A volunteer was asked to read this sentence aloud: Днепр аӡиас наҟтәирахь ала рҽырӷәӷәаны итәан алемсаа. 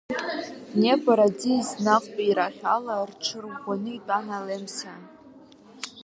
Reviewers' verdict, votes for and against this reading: accepted, 2, 0